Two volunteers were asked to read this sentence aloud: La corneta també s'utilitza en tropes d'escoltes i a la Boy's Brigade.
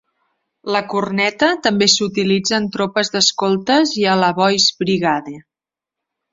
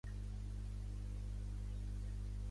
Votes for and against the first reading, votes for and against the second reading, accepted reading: 2, 0, 1, 2, first